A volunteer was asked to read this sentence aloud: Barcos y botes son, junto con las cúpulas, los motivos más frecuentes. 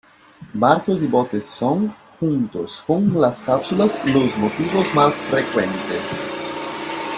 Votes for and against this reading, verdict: 0, 2, rejected